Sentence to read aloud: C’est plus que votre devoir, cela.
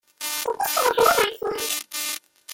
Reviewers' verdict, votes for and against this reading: rejected, 0, 2